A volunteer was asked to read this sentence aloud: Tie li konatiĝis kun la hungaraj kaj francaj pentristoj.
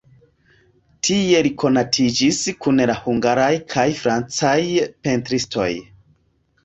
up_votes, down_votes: 2, 1